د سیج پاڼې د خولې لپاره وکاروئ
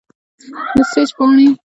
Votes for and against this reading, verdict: 0, 2, rejected